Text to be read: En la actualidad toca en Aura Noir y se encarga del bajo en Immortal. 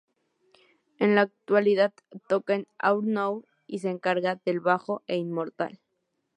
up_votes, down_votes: 0, 2